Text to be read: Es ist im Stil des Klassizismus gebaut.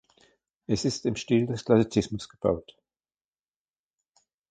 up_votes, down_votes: 2, 0